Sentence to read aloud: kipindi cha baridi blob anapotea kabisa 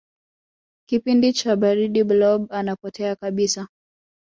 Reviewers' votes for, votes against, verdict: 2, 1, accepted